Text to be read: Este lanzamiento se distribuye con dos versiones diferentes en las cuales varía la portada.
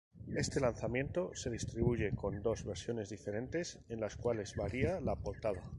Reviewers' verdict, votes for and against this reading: rejected, 2, 2